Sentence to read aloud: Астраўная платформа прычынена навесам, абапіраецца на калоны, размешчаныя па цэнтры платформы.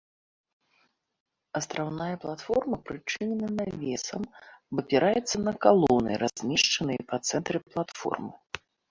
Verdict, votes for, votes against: accepted, 2, 0